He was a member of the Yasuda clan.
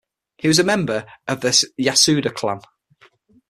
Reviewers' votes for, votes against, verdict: 3, 6, rejected